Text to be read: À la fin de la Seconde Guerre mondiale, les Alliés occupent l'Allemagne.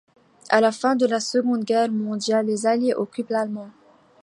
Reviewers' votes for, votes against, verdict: 0, 2, rejected